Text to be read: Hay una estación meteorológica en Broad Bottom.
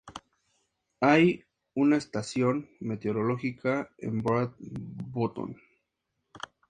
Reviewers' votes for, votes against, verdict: 2, 0, accepted